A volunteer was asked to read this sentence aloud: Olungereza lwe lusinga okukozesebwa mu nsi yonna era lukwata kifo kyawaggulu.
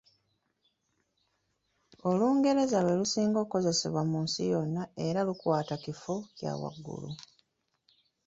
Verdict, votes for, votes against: rejected, 0, 2